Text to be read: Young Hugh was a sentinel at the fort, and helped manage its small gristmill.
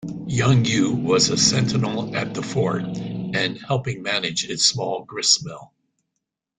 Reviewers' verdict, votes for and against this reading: rejected, 0, 4